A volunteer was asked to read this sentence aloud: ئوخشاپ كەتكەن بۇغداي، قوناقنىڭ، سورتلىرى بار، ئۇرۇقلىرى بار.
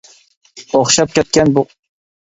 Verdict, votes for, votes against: rejected, 0, 2